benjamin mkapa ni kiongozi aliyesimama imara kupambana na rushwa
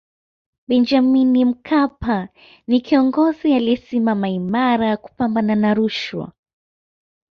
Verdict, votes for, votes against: accepted, 2, 0